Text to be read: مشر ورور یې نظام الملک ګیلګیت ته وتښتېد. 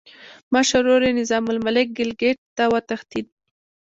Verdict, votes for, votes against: accepted, 2, 1